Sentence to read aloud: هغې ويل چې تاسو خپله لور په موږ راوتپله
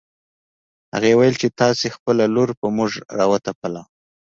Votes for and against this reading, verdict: 2, 0, accepted